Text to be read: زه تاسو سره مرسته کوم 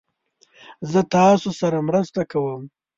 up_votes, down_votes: 2, 0